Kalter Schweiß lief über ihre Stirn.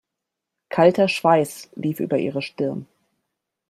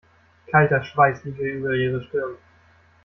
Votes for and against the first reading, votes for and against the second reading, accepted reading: 2, 0, 1, 2, first